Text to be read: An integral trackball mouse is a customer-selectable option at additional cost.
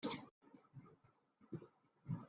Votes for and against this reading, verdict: 0, 2, rejected